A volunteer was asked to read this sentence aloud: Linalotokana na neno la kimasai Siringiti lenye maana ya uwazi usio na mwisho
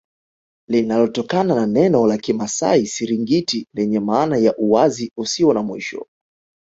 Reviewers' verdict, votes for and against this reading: accepted, 2, 0